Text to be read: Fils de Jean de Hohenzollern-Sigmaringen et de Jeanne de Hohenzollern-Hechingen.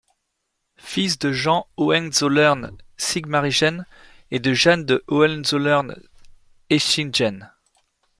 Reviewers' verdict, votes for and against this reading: rejected, 1, 2